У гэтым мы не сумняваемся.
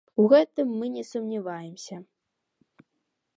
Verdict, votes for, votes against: accepted, 2, 0